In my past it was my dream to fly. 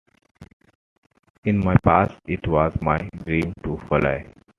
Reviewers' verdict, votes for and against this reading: accepted, 2, 1